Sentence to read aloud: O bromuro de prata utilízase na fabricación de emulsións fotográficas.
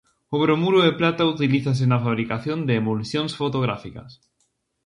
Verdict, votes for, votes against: accepted, 2, 0